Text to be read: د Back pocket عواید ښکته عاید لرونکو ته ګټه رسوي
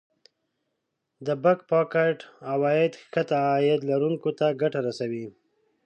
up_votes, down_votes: 0, 2